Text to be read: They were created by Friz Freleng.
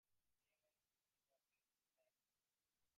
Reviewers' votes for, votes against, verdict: 0, 2, rejected